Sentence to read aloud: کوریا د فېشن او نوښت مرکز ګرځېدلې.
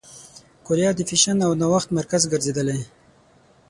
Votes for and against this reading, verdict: 9, 0, accepted